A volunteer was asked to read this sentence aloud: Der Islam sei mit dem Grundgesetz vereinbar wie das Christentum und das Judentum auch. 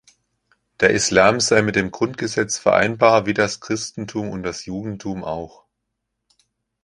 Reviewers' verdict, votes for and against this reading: accepted, 3, 0